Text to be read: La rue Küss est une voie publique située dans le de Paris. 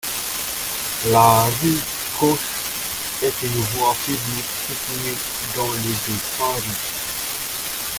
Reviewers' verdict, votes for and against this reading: rejected, 0, 2